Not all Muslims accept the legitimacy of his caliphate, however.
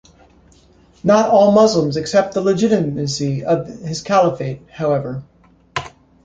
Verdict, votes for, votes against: rejected, 1, 2